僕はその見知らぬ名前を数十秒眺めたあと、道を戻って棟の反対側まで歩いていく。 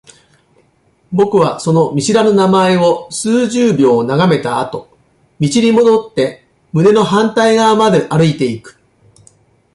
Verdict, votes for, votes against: rejected, 0, 2